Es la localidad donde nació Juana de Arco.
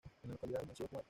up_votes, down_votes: 1, 2